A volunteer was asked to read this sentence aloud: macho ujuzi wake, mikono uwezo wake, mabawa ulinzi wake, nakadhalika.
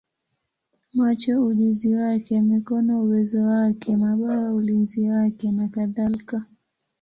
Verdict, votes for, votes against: rejected, 3, 4